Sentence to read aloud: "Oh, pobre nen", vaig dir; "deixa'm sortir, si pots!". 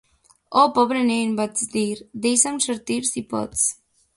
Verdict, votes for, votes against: accepted, 2, 0